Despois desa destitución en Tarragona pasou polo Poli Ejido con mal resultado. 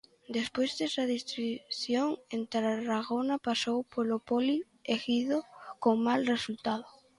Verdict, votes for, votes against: rejected, 0, 2